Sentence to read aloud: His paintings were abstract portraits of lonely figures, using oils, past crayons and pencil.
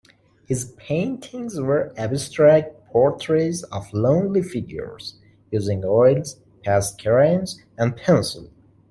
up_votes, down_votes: 2, 1